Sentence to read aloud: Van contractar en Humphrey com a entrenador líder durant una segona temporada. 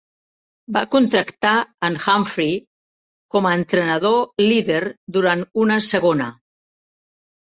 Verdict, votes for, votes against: rejected, 0, 3